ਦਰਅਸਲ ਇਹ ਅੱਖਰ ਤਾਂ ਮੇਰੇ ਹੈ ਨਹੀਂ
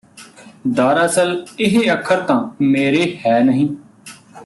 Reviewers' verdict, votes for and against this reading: rejected, 1, 2